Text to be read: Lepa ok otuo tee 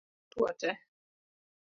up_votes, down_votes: 1, 2